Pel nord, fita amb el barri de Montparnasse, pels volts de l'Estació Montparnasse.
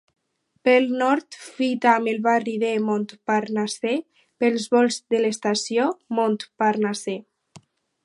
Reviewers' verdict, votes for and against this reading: rejected, 2, 4